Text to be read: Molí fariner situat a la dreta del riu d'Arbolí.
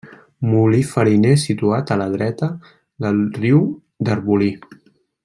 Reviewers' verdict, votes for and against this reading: accepted, 3, 0